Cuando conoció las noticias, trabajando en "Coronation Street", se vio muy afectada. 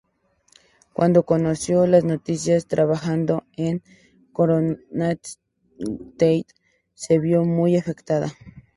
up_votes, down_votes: 0, 2